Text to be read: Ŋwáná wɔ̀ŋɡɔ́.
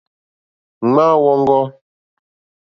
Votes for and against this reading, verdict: 1, 2, rejected